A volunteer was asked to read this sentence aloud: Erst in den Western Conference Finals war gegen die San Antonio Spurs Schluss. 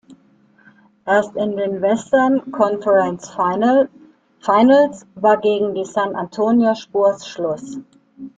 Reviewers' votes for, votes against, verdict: 0, 2, rejected